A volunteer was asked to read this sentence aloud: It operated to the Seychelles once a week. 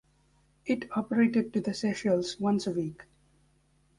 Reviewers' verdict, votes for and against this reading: accepted, 2, 0